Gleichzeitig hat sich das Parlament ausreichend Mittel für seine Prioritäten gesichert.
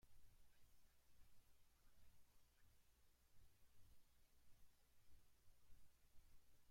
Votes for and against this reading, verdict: 0, 2, rejected